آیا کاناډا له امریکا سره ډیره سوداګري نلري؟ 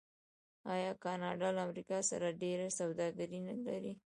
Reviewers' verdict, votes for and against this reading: rejected, 1, 2